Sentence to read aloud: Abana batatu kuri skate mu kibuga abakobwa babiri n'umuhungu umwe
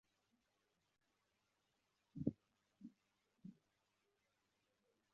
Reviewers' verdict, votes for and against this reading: rejected, 0, 2